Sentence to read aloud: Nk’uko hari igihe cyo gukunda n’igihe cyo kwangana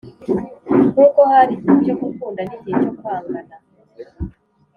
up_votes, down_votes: 2, 0